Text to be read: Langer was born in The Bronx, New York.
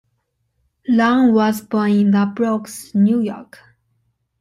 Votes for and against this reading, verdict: 0, 2, rejected